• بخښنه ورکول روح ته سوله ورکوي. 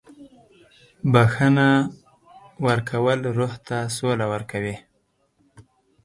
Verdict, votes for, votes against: accepted, 4, 0